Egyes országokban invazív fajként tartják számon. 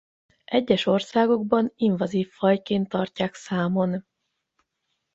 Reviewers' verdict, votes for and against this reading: accepted, 8, 0